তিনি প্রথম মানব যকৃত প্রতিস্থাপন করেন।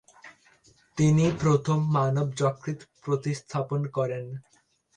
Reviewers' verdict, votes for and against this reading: accepted, 5, 0